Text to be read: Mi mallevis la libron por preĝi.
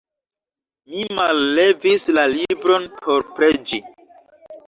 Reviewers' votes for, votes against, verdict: 2, 1, accepted